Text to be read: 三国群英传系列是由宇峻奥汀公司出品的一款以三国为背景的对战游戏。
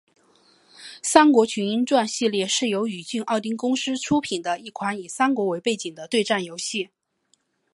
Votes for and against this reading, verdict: 6, 2, accepted